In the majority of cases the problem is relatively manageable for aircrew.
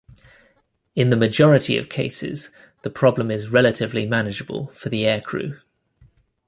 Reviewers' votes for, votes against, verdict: 0, 2, rejected